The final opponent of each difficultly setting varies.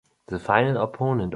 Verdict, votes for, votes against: rejected, 0, 2